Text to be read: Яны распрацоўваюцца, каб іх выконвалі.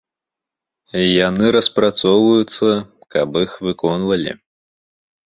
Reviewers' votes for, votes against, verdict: 3, 0, accepted